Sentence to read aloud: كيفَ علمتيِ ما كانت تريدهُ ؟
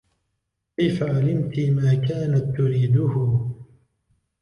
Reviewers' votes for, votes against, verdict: 1, 2, rejected